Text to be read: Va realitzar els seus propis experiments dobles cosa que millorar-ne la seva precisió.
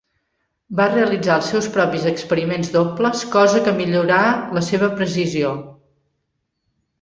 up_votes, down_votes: 1, 2